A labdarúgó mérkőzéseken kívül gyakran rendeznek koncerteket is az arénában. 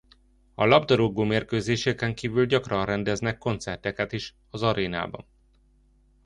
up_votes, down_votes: 2, 0